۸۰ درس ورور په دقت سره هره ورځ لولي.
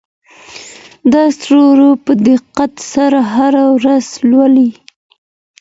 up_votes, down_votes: 0, 2